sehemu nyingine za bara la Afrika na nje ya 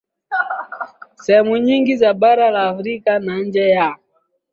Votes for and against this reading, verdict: 25, 5, accepted